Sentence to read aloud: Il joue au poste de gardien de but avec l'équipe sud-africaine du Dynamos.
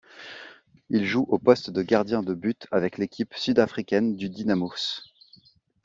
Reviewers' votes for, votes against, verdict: 2, 0, accepted